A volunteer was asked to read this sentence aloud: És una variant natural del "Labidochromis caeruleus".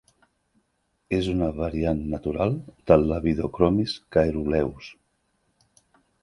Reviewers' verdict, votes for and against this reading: accepted, 2, 0